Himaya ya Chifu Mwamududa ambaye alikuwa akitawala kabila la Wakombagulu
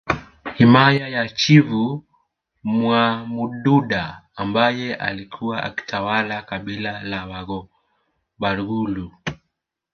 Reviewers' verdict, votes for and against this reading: rejected, 1, 2